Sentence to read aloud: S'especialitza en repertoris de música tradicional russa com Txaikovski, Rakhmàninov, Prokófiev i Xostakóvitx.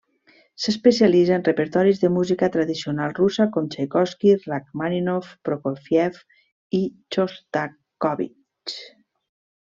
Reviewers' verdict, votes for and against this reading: rejected, 1, 2